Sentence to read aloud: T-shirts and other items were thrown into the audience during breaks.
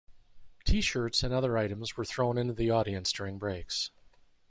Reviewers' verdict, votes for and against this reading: accepted, 2, 0